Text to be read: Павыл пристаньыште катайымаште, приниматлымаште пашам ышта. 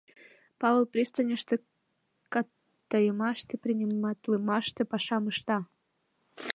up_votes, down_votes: 0, 2